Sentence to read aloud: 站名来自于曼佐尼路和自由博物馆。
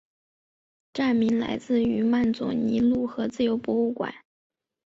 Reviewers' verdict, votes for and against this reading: accepted, 4, 0